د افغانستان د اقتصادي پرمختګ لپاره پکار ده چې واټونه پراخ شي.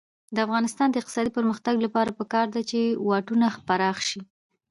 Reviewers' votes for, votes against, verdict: 1, 2, rejected